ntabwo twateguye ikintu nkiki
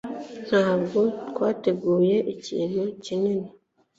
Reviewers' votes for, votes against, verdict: 1, 2, rejected